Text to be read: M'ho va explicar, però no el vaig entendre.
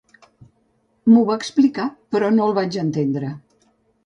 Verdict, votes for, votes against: accepted, 2, 0